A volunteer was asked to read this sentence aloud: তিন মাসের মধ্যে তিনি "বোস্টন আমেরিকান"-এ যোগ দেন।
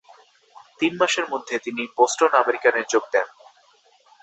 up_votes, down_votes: 0, 2